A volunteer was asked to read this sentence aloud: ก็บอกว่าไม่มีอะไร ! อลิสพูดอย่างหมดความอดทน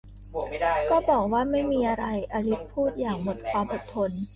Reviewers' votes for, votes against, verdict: 0, 2, rejected